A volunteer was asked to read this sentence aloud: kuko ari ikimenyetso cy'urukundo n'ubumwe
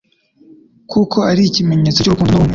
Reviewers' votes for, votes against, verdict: 1, 2, rejected